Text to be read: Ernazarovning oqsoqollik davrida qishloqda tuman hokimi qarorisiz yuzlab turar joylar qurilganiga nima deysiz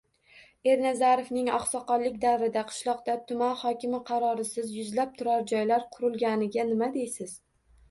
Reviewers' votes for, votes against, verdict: 1, 2, rejected